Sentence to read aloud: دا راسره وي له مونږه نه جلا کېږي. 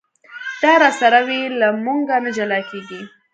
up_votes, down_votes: 2, 0